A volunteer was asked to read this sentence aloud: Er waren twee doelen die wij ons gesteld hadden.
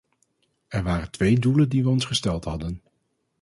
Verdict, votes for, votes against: accepted, 4, 0